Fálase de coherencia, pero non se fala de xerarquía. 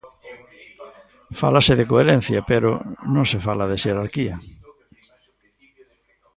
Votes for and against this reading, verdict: 2, 0, accepted